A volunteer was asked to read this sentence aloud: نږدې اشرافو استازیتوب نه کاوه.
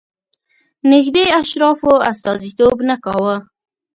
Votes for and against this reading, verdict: 3, 0, accepted